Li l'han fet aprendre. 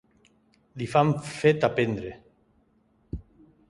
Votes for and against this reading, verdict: 0, 2, rejected